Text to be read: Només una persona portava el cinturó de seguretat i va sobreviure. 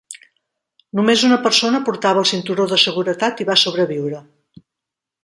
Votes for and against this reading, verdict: 2, 0, accepted